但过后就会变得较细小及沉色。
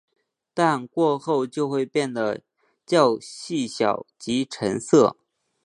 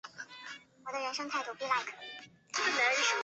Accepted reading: first